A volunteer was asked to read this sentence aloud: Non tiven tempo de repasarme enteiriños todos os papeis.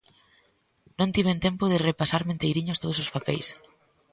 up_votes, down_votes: 2, 0